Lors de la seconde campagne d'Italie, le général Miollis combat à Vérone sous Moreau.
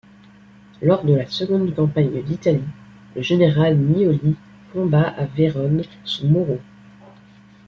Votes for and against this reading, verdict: 2, 0, accepted